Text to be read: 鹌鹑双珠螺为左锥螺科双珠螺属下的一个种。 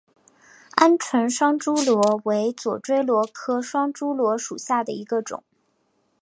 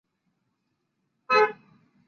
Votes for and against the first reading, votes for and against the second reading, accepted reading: 2, 0, 1, 5, first